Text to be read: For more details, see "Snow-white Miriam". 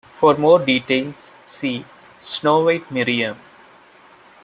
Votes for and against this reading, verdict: 1, 2, rejected